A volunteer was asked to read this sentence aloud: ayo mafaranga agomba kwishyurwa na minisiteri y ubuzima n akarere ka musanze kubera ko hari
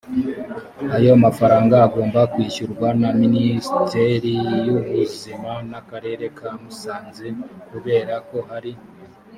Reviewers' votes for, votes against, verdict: 0, 2, rejected